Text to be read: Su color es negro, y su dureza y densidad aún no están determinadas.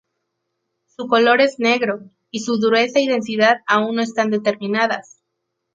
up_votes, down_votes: 0, 2